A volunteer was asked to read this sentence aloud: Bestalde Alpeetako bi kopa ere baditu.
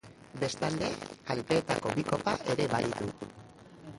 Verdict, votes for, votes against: rejected, 0, 3